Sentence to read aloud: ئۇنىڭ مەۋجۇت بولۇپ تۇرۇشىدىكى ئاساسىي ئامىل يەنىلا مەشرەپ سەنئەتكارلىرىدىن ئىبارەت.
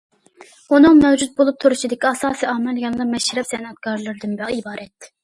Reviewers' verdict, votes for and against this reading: rejected, 1, 2